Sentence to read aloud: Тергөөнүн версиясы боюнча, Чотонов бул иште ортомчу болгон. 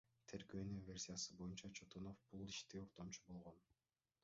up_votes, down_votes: 1, 2